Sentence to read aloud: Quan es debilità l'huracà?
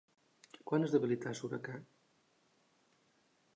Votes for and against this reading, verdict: 1, 2, rejected